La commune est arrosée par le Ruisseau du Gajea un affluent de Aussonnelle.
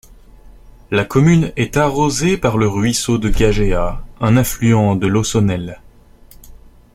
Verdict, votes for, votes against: rejected, 1, 2